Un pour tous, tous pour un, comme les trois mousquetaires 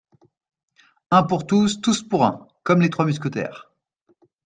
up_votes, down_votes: 2, 0